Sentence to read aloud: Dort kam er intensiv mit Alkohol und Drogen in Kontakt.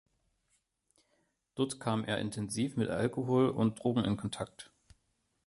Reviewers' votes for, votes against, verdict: 2, 0, accepted